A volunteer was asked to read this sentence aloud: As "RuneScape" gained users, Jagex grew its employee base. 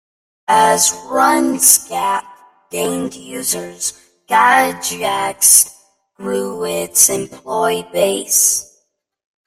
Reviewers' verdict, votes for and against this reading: rejected, 0, 2